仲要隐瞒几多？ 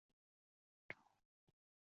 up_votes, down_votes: 0, 3